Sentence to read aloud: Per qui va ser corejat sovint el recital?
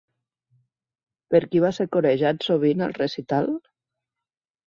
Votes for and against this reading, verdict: 4, 0, accepted